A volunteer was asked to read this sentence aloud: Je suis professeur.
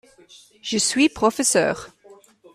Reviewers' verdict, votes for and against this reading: accepted, 2, 0